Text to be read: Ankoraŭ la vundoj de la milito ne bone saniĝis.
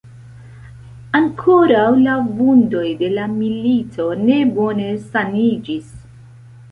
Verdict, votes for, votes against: accepted, 2, 0